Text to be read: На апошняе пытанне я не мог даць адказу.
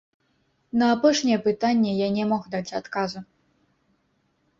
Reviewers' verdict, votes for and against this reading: rejected, 1, 2